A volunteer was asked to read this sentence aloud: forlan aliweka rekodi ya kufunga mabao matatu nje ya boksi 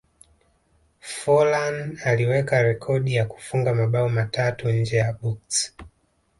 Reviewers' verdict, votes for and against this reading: rejected, 1, 2